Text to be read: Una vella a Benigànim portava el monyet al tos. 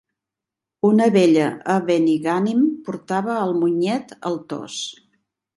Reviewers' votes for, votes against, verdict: 3, 0, accepted